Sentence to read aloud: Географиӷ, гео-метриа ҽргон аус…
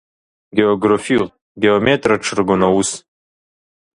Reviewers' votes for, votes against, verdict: 1, 2, rejected